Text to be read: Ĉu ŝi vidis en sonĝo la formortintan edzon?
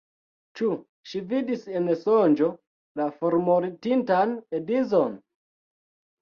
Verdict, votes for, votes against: rejected, 0, 2